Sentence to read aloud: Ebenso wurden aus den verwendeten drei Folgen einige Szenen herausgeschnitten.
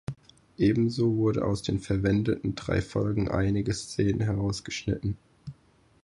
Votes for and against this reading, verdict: 0, 4, rejected